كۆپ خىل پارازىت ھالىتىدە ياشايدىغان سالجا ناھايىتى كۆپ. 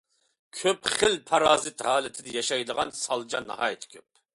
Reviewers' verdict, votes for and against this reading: accepted, 2, 0